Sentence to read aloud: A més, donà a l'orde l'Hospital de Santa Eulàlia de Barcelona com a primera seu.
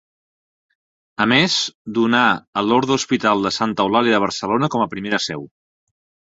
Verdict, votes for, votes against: accepted, 2, 0